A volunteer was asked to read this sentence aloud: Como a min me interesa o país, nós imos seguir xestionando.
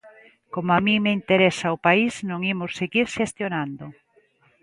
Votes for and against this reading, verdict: 1, 2, rejected